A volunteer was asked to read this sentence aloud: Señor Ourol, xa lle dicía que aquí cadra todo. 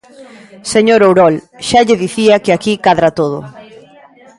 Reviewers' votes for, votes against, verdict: 2, 0, accepted